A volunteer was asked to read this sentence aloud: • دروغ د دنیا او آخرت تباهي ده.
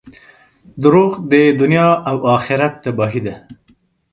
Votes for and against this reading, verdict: 2, 0, accepted